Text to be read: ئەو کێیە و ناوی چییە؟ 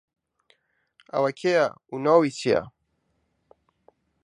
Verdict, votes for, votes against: rejected, 1, 2